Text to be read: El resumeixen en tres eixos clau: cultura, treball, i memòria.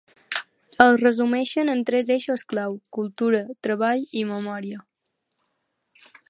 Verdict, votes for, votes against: accepted, 2, 0